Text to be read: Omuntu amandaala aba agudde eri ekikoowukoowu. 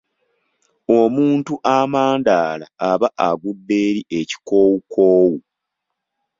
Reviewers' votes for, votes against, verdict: 2, 0, accepted